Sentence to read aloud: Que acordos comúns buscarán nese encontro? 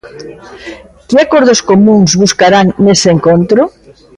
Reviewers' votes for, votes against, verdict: 2, 0, accepted